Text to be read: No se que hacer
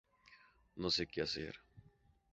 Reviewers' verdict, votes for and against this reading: accepted, 2, 0